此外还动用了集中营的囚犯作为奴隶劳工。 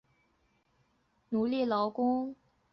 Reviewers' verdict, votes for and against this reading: rejected, 1, 2